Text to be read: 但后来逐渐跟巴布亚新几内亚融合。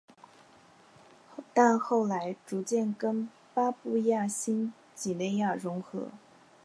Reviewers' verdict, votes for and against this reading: accepted, 4, 0